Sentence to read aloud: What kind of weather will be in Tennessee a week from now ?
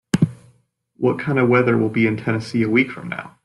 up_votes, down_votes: 2, 0